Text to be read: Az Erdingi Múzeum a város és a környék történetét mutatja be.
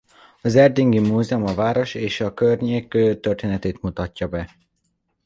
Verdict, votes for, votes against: rejected, 0, 2